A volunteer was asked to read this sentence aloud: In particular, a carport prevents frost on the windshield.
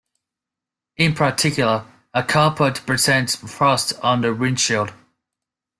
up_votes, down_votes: 2, 1